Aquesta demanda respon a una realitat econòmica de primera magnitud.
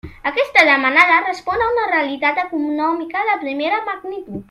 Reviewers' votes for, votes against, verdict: 0, 2, rejected